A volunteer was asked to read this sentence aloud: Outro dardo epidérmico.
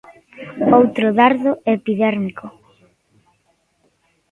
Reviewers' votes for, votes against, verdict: 2, 1, accepted